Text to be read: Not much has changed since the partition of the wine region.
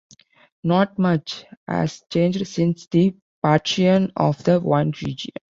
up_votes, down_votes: 0, 2